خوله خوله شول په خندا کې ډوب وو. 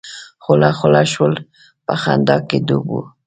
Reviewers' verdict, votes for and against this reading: rejected, 1, 2